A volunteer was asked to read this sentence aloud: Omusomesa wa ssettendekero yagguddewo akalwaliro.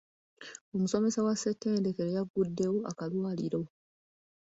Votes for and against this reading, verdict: 2, 0, accepted